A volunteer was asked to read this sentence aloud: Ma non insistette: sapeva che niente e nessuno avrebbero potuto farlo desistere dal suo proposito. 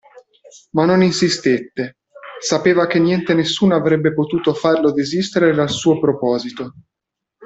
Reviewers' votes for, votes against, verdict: 0, 2, rejected